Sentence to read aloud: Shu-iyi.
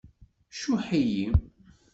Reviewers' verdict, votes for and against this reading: rejected, 1, 2